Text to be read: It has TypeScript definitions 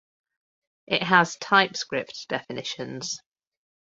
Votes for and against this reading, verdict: 4, 0, accepted